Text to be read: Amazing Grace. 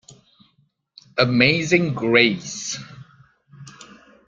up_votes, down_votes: 2, 0